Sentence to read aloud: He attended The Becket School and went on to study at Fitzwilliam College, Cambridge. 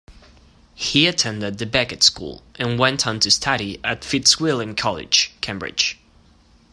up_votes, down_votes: 2, 0